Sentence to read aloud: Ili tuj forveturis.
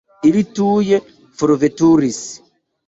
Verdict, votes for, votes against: rejected, 1, 2